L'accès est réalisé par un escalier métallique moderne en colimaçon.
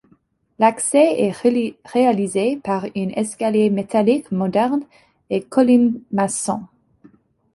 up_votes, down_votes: 0, 2